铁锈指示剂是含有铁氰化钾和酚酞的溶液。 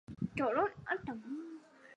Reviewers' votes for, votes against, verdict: 1, 4, rejected